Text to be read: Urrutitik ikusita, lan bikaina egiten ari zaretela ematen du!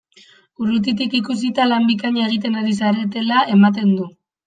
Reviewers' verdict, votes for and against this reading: accepted, 2, 0